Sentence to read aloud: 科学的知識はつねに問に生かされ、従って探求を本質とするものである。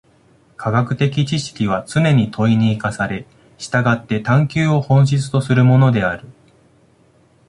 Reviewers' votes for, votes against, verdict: 2, 1, accepted